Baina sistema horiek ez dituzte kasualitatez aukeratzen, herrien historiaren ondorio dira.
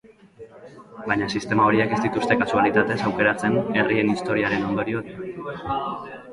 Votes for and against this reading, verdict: 1, 3, rejected